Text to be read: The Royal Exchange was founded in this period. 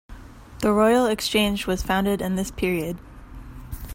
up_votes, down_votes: 2, 0